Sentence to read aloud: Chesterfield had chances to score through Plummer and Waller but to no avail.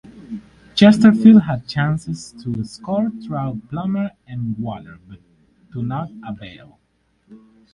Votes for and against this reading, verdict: 0, 4, rejected